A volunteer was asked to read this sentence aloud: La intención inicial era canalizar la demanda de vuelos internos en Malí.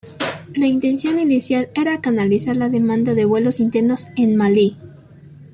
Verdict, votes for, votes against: accepted, 2, 0